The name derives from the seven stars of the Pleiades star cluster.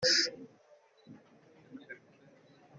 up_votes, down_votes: 0, 2